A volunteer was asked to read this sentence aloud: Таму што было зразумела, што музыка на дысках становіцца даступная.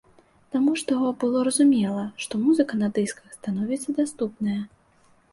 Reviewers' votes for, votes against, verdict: 0, 2, rejected